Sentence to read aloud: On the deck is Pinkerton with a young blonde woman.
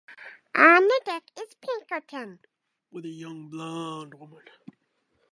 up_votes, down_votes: 0, 2